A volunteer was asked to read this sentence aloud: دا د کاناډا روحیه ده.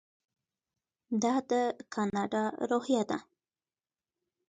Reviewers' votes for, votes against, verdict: 1, 2, rejected